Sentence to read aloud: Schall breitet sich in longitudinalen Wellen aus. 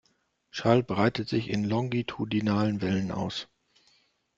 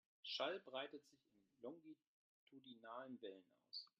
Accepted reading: first